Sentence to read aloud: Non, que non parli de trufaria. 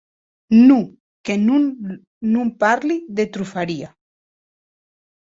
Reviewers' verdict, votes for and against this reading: rejected, 0, 2